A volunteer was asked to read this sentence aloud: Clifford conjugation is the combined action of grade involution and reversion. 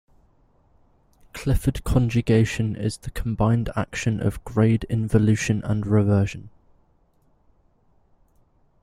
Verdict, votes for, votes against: accepted, 2, 0